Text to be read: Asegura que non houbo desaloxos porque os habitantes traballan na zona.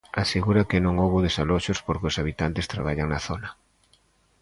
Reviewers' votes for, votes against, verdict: 2, 0, accepted